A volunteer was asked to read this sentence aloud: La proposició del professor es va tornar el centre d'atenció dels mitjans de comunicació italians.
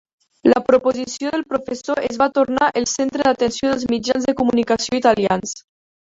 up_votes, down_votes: 0, 4